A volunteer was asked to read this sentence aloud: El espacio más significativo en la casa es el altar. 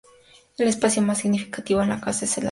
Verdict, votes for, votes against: rejected, 0, 2